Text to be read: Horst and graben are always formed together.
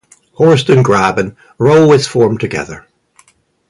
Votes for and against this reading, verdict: 0, 2, rejected